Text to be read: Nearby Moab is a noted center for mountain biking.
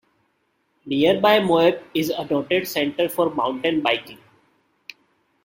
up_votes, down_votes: 2, 0